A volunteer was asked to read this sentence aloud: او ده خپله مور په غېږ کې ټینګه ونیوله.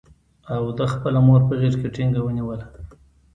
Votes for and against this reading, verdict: 1, 2, rejected